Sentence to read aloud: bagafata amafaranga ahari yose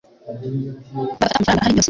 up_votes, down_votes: 2, 1